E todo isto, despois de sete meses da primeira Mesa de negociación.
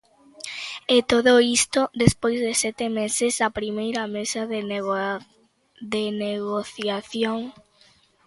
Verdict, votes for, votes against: rejected, 1, 2